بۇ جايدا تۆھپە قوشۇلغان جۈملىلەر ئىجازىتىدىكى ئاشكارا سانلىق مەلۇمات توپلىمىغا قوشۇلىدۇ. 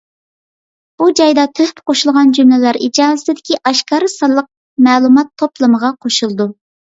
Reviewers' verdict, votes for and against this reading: accepted, 2, 0